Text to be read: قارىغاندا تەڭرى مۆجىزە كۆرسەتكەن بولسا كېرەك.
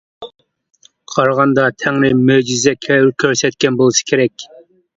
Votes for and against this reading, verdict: 0, 2, rejected